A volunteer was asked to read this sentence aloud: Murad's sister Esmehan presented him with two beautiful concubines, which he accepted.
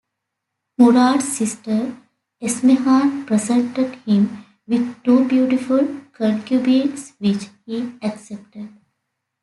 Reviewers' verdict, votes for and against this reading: accepted, 2, 0